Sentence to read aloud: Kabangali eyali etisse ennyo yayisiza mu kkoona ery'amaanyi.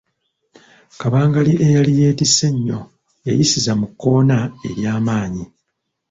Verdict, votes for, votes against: rejected, 1, 2